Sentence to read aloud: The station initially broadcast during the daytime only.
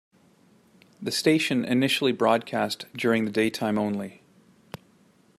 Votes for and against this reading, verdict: 2, 0, accepted